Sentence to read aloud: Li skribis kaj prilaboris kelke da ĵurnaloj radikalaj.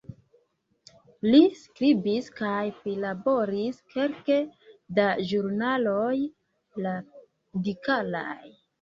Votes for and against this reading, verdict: 1, 2, rejected